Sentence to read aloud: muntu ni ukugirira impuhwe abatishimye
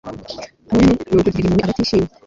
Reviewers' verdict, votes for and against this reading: rejected, 0, 2